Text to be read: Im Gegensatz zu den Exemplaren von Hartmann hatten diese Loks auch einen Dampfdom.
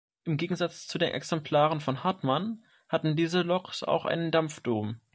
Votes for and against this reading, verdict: 1, 2, rejected